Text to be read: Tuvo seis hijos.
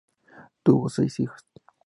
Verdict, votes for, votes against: rejected, 0, 2